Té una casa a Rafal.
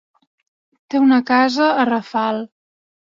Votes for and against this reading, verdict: 5, 0, accepted